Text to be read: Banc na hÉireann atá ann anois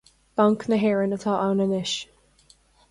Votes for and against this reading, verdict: 2, 0, accepted